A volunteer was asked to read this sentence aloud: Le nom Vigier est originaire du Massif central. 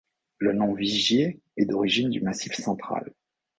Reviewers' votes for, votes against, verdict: 0, 2, rejected